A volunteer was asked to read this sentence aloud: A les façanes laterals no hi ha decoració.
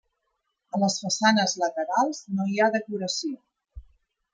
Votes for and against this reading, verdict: 1, 2, rejected